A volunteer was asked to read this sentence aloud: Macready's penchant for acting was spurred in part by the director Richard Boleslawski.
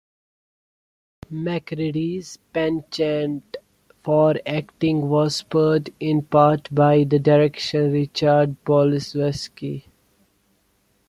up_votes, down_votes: 1, 2